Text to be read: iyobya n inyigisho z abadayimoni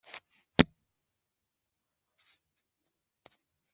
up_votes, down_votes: 2, 0